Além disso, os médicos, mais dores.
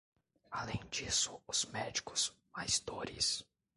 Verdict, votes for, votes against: rejected, 1, 2